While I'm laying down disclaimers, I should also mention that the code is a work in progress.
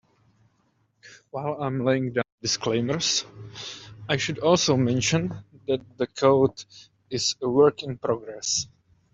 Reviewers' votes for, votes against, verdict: 2, 1, accepted